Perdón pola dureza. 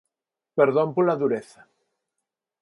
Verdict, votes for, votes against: accepted, 4, 0